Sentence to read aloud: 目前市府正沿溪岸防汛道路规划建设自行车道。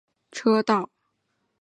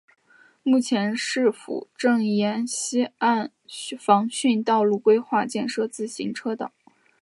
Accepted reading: second